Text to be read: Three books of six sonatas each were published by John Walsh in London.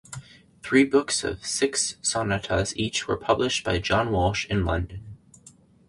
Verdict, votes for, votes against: accepted, 4, 0